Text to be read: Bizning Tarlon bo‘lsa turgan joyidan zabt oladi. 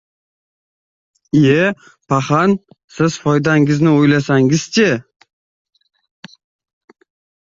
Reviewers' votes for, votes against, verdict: 0, 2, rejected